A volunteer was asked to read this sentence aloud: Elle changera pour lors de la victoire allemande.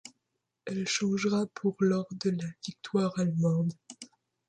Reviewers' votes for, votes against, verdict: 2, 0, accepted